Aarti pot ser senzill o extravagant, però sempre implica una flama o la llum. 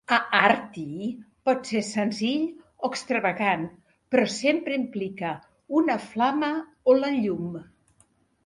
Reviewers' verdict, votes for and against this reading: accepted, 2, 0